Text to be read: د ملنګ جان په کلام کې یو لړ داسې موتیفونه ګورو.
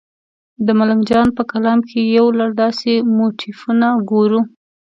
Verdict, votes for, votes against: accepted, 2, 0